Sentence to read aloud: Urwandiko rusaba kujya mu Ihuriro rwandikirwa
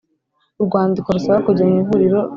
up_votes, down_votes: 0, 2